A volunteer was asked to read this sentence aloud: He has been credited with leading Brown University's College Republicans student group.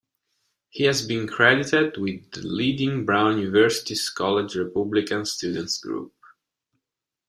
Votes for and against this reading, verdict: 1, 2, rejected